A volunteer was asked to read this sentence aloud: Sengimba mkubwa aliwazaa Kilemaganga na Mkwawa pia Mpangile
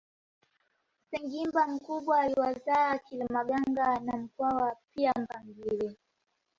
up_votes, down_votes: 2, 1